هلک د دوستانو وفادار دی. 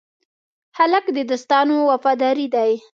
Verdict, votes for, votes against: rejected, 0, 2